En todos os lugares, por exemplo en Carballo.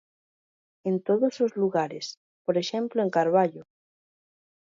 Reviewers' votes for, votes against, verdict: 2, 0, accepted